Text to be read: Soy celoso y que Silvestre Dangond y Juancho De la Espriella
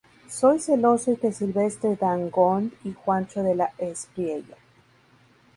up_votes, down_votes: 2, 0